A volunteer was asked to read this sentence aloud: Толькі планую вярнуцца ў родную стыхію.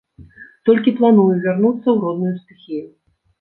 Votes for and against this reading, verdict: 2, 0, accepted